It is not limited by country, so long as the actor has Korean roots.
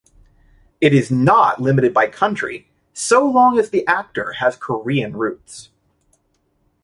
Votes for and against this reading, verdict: 0, 2, rejected